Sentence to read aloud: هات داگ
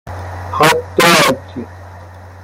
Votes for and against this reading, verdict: 0, 2, rejected